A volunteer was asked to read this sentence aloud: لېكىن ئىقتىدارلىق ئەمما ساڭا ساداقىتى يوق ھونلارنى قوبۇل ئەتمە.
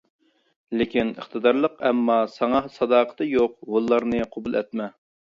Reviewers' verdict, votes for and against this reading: accepted, 2, 0